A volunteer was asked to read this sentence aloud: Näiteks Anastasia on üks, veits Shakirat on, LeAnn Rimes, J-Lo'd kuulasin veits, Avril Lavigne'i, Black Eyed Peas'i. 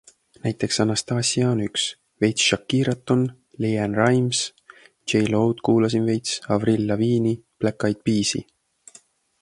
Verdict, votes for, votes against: accepted, 2, 1